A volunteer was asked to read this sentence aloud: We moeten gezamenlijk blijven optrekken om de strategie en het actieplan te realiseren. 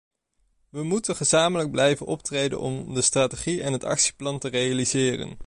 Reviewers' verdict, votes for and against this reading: rejected, 1, 2